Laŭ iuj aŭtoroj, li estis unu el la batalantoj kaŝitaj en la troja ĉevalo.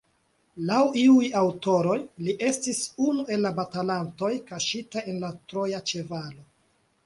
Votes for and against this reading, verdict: 2, 0, accepted